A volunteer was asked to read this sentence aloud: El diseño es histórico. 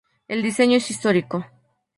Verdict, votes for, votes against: accepted, 2, 0